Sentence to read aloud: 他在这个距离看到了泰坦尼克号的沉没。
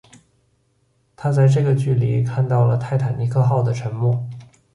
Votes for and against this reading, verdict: 4, 1, accepted